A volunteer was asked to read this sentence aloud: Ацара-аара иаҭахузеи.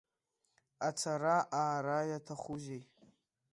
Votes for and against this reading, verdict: 2, 0, accepted